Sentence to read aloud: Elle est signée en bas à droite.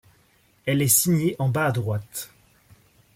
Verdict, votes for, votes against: accepted, 2, 0